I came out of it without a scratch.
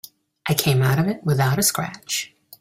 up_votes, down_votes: 2, 0